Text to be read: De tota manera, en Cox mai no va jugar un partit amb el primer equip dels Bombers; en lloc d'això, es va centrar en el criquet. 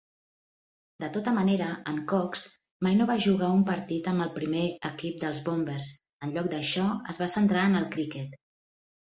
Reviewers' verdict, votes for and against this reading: accepted, 2, 0